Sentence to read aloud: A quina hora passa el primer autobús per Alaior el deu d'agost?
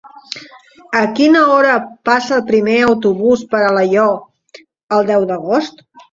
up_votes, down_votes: 1, 2